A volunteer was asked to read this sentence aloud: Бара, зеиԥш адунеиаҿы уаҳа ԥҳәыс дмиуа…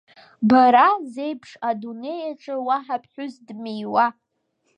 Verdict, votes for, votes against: accepted, 2, 1